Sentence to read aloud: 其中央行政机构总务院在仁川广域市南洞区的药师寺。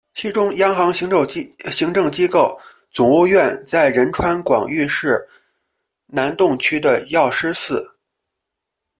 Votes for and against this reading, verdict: 2, 1, accepted